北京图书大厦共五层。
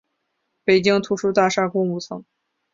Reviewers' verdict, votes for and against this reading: accepted, 3, 0